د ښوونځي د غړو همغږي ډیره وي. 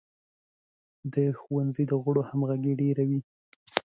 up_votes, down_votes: 2, 0